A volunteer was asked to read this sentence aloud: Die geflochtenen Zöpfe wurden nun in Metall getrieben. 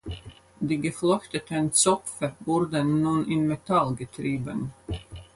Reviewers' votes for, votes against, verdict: 4, 2, accepted